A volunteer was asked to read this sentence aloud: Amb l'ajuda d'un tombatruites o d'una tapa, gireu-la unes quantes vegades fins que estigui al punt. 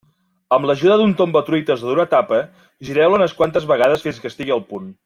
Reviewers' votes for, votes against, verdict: 2, 0, accepted